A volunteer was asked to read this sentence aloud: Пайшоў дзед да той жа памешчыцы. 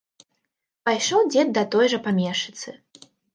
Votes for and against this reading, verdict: 2, 0, accepted